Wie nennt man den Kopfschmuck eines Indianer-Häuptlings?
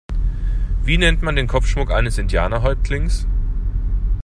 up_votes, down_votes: 2, 0